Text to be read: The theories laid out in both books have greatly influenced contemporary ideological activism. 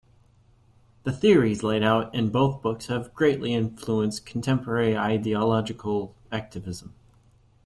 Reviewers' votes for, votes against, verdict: 2, 1, accepted